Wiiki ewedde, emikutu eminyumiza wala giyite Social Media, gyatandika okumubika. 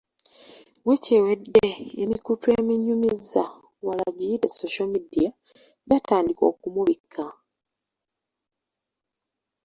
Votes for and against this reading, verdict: 1, 2, rejected